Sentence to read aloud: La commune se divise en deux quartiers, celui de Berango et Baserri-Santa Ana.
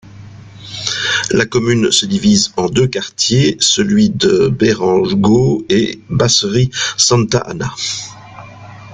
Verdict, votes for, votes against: accepted, 3, 2